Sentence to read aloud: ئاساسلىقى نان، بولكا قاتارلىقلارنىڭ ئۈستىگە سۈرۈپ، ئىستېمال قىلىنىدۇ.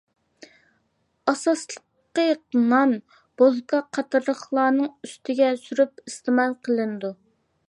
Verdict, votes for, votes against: accepted, 2, 0